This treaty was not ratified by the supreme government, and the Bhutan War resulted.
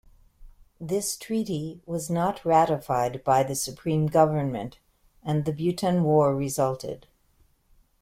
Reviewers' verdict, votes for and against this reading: accepted, 3, 0